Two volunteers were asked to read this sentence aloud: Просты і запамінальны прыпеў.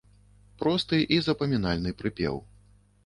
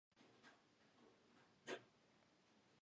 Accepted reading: first